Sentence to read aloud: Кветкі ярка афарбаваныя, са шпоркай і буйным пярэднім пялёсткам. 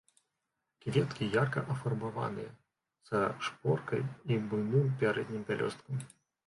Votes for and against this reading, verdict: 0, 2, rejected